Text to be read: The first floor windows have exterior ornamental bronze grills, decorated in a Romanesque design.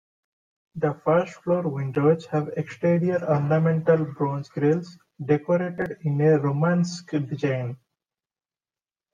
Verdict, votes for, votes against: rejected, 1, 2